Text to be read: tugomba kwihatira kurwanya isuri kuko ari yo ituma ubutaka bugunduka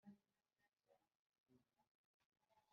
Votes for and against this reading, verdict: 0, 2, rejected